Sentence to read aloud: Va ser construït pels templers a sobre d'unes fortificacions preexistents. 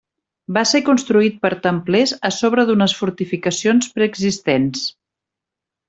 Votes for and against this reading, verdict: 1, 2, rejected